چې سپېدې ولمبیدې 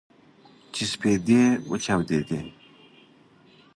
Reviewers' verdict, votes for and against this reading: rejected, 0, 2